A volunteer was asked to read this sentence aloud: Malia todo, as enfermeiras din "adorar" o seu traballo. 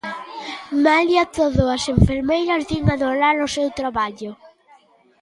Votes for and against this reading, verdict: 0, 2, rejected